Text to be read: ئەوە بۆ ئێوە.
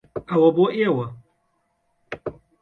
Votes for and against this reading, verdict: 2, 0, accepted